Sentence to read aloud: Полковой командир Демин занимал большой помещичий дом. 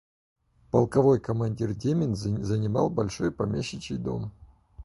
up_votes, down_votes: 0, 4